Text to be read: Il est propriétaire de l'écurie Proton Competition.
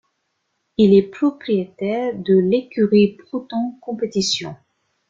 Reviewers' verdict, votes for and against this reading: rejected, 1, 2